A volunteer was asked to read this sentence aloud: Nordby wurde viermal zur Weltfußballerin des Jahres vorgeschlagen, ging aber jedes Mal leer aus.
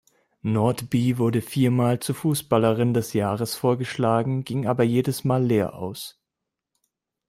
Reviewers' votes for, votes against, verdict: 1, 2, rejected